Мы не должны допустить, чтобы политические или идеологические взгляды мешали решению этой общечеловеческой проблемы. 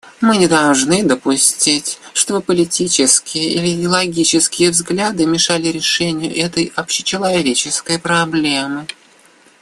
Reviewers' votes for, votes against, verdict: 1, 2, rejected